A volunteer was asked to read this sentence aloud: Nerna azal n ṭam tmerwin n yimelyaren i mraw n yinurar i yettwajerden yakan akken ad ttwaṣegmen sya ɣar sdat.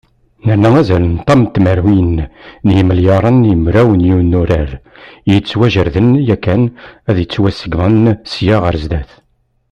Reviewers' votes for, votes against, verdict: 1, 2, rejected